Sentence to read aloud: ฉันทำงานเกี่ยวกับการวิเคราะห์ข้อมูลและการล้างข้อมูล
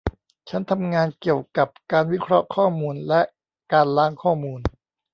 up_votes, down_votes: 0, 2